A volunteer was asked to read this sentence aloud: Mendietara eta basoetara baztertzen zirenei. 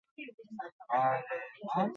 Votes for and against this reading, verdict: 0, 2, rejected